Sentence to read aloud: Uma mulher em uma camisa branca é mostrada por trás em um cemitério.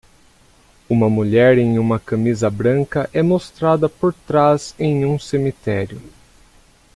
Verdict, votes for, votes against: accepted, 2, 0